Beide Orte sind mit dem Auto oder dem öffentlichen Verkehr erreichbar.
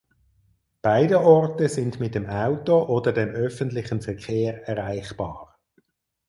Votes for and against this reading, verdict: 4, 0, accepted